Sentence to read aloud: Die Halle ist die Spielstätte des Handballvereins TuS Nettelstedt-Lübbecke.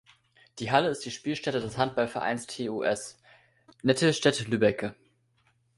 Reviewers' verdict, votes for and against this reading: rejected, 1, 2